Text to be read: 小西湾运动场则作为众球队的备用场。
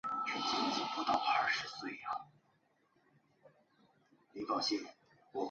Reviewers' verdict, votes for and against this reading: rejected, 0, 5